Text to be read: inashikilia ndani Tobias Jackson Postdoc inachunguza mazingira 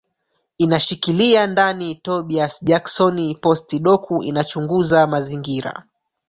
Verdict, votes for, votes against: rejected, 0, 3